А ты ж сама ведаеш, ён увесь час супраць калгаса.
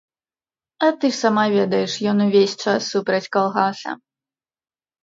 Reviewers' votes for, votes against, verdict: 1, 2, rejected